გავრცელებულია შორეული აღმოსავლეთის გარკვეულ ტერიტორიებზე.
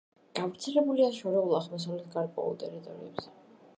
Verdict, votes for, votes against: accepted, 2, 1